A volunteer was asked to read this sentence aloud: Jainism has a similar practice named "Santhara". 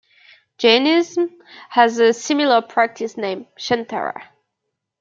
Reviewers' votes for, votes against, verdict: 0, 2, rejected